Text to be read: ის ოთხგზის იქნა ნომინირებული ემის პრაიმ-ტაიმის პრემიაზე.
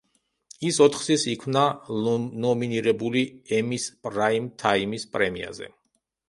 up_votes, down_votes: 0, 2